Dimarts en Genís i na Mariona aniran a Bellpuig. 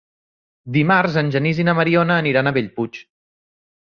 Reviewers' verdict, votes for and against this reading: accepted, 3, 0